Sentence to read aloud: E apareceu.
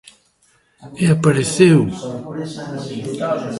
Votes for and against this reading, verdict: 1, 2, rejected